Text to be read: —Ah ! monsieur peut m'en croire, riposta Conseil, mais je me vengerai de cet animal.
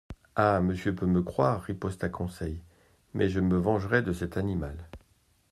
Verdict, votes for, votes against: rejected, 0, 2